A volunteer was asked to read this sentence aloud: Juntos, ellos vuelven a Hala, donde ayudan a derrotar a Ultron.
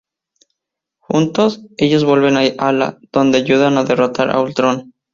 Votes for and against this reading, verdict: 2, 2, rejected